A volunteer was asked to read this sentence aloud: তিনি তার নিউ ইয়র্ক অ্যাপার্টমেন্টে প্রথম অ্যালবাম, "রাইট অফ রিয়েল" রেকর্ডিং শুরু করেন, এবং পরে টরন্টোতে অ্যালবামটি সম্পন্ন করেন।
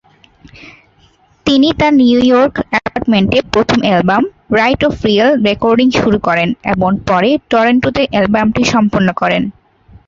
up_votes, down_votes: 0, 2